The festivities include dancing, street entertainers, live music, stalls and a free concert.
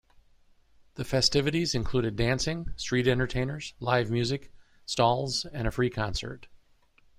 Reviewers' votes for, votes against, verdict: 0, 2, rejected